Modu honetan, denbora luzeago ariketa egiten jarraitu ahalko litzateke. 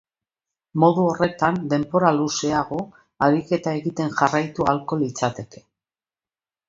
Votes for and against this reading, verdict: 0, 2, rejected